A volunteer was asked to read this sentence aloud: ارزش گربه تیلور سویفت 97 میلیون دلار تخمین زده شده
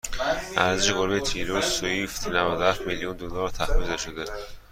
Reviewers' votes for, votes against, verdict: 0, 2, rejected